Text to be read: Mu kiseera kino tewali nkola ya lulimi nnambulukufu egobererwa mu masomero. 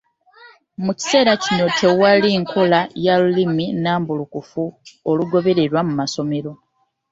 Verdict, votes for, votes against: rejected, 1, 2